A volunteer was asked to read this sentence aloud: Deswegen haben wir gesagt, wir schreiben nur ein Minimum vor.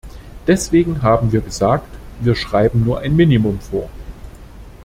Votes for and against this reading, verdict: 2, 0, accepted